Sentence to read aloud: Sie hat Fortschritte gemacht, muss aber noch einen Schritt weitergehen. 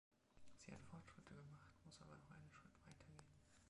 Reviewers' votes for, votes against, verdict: 1, 2, rejected